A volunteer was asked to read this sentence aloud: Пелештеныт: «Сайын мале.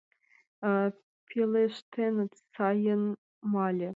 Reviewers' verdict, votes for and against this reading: rejected, 1, 2